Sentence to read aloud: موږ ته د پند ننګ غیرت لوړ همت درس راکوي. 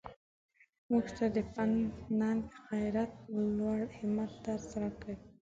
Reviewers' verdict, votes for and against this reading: rejected, 0, 2